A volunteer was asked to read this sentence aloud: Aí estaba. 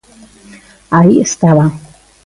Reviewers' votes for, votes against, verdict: 2, 0, accepted